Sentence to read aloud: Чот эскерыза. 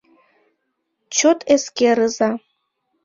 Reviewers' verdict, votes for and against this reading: accepted, 2, 0